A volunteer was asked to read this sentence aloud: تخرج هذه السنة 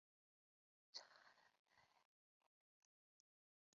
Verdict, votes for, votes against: rejected, 0, 3